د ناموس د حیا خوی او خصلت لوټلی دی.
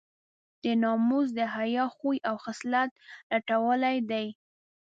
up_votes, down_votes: 0, 2